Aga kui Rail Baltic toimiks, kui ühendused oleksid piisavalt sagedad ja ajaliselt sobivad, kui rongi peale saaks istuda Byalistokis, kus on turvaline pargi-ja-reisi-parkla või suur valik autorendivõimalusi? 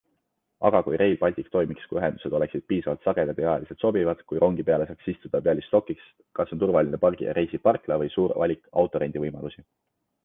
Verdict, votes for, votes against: accepted, 2, 0